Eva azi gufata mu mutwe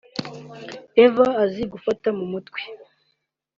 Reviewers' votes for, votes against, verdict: 2, 0, accepted